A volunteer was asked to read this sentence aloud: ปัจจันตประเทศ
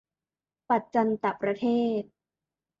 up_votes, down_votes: 2, 0